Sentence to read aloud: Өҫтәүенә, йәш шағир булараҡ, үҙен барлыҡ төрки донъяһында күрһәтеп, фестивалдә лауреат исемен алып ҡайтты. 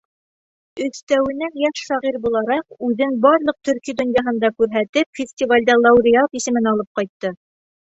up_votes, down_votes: 3, 0